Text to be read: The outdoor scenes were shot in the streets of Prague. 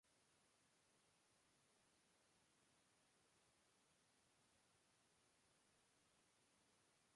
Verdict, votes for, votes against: rejected, 0, 2